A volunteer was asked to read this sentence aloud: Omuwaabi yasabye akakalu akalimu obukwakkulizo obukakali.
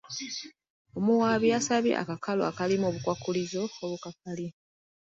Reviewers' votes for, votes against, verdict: 3, 0, accepted